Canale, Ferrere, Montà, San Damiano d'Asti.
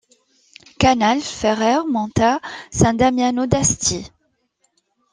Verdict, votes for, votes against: accepted, 2, 0